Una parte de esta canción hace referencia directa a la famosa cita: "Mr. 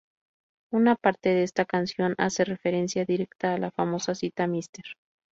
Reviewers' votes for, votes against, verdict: 0, 2, rejected